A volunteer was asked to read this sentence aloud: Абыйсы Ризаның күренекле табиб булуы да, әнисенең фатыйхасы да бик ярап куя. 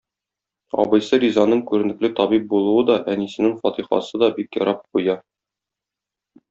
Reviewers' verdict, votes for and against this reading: rejected, 0, 2